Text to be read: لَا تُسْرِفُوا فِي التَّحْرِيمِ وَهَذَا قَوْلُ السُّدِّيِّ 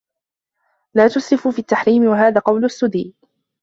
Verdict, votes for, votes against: accepted, 2, 1